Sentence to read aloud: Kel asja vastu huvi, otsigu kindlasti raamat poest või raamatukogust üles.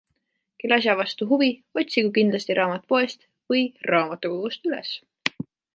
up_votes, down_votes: 2, 0